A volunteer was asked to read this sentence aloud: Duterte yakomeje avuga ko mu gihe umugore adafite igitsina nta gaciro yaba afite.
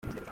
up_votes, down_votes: 0, 2